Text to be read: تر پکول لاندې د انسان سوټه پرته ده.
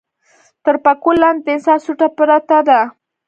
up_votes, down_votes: 2, 0